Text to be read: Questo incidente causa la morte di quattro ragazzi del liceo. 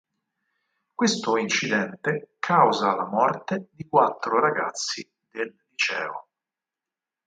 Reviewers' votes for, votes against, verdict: 4, 2, accepted